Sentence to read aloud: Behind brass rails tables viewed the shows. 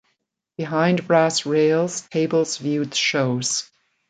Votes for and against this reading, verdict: 1, 2, rejected